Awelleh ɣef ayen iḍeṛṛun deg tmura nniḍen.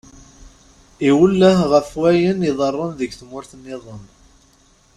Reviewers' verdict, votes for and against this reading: rejected, 1, 2